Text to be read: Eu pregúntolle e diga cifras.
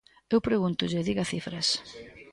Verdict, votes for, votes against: rejected, 1, 2